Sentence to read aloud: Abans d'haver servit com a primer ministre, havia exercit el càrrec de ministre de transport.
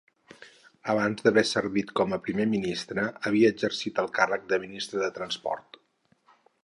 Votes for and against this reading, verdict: 6, 0, accepted